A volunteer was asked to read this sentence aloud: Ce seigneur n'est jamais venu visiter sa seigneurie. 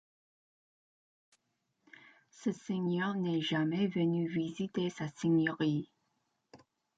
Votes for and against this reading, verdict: 2, 0, accepted